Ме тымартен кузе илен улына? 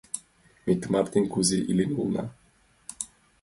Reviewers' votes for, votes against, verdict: 2, 1, accepted